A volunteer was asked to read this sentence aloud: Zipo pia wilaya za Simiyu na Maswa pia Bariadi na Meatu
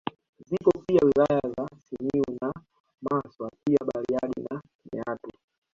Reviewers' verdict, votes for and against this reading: rejected, 0, 2